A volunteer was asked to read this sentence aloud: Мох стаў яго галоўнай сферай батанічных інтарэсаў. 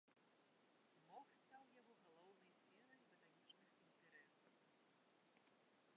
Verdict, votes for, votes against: rejected, 0, 2